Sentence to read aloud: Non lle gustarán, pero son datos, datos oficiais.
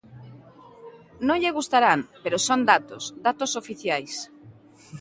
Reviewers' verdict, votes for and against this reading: accepted, 2, 0